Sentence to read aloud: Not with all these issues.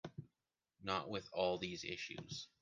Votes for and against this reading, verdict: 2, 0, accepted